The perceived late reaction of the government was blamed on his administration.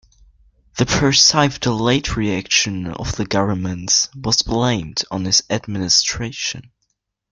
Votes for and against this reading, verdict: 1, 2, rejected